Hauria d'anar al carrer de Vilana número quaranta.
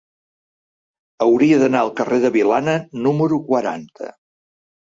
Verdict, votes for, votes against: accepted, 3, 0